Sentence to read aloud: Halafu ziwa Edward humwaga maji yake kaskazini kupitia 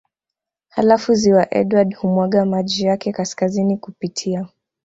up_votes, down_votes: 2, 0